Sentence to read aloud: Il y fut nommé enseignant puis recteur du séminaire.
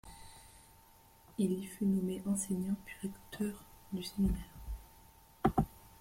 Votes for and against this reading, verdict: 0, 2, rejected